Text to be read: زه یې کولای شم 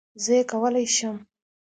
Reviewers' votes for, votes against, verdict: 2, 0, accepted